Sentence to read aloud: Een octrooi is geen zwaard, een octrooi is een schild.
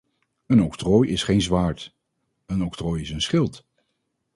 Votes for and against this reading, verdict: 2, 2, rejected